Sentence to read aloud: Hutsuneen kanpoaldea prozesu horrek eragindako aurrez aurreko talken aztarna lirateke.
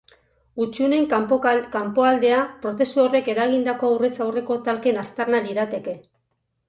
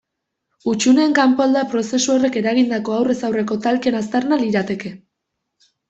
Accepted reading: second